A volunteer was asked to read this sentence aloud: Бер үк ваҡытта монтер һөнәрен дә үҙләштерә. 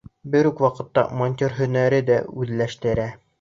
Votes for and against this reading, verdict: 0, 2, rejected